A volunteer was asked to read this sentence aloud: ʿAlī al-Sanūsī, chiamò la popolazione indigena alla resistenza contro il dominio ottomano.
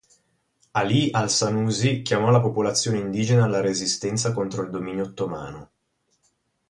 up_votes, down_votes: 4, 0